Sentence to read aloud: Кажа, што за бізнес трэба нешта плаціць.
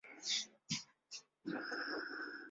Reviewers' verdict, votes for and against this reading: rejected, 0, 3